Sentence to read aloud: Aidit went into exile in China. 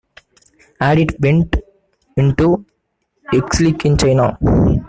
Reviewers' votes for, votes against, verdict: 0, 2, rejected